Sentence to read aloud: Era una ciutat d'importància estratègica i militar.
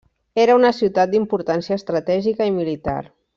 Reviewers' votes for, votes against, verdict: 3, 0, accepted